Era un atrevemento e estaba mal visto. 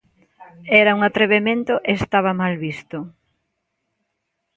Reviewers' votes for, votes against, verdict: 2, 0, accepted